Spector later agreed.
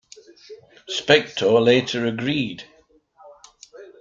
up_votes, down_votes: 2, 0